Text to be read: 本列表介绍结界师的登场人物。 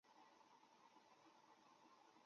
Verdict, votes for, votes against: rejected, 0, 2